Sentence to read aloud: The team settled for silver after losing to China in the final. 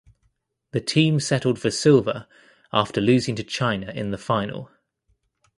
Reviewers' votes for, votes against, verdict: 2, 0, accepted